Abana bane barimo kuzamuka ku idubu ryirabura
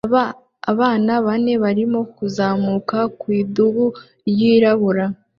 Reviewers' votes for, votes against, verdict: 2, 1, accepted